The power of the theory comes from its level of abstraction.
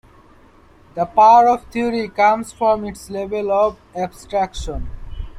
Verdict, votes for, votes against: accepted, 2, 0